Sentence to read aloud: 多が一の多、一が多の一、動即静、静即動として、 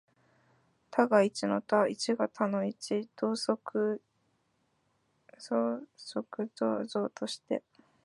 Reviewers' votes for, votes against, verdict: 0, 3, rejected